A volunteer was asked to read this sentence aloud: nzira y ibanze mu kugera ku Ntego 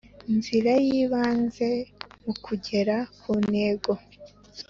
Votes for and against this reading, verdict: 2, 0, accepted